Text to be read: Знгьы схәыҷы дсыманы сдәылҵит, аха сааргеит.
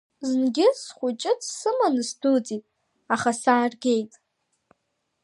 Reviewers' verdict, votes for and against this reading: accepted, 2, 0